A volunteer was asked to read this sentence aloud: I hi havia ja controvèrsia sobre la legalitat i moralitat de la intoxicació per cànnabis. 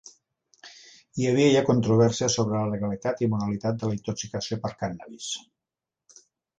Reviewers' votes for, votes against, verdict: 5, 0, accepted